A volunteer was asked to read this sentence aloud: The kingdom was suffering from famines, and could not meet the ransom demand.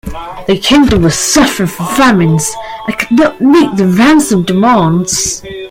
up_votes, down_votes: 0, 2